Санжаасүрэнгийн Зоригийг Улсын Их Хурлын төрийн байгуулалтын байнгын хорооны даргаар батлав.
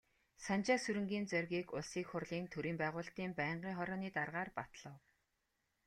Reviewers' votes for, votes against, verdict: 2, 0, accepted